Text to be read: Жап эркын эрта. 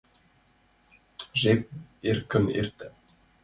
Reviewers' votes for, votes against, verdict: 0, 2, rejected